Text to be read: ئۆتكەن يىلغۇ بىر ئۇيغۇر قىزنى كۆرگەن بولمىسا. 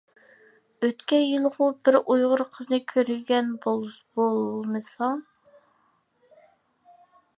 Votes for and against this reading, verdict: 0, 2, rejected